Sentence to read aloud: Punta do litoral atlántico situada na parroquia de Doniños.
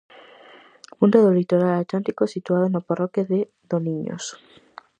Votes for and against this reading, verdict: 4, 0, accepted